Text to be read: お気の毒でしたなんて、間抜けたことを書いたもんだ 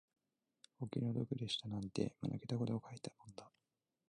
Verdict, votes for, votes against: rejected, 0, 2